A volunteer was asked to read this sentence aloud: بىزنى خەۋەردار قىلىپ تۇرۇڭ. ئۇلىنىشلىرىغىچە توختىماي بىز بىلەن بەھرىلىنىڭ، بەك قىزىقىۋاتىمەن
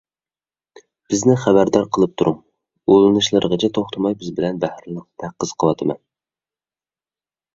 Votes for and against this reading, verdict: 1, 2, rejected